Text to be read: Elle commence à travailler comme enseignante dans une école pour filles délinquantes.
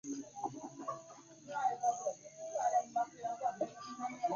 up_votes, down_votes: 0, 2